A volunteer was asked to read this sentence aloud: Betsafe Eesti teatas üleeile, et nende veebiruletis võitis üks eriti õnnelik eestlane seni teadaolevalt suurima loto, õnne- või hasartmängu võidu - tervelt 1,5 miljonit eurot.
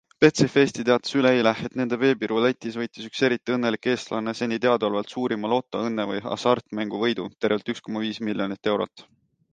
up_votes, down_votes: 0, 2